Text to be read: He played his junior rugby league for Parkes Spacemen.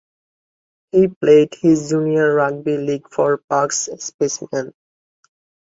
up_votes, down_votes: 2, 0